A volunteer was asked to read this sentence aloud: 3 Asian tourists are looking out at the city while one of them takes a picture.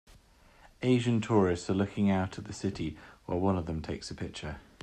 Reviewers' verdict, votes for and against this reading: rejected, 0, 2